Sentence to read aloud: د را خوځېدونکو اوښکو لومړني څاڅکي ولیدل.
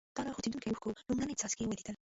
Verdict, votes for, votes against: rejected, 0, 2